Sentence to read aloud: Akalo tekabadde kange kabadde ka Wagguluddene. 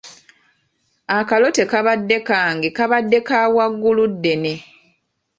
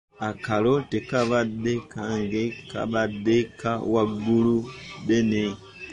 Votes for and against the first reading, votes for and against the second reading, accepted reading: 2, 0, 1, 2, first